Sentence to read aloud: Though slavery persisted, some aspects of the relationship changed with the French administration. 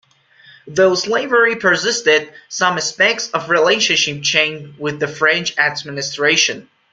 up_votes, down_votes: 0, 2